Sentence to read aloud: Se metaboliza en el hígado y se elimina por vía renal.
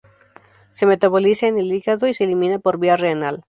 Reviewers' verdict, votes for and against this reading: accepted, 4, 0